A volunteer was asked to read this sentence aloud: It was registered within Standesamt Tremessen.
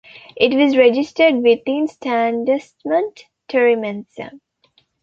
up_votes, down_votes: 1, 2